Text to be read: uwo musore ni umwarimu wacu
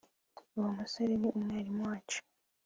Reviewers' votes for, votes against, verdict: 3, 0, accepted